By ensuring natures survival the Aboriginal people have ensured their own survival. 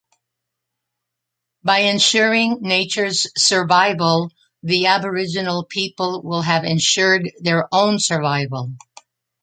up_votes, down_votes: 1, 2